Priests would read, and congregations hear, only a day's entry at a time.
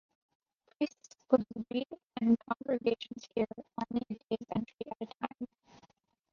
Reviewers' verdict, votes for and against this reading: rejected, 1, 2